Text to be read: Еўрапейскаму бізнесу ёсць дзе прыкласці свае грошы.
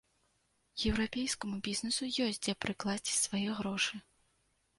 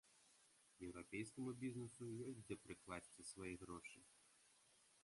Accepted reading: first